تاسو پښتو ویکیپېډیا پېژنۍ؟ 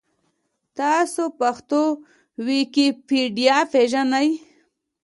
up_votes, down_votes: 2, 1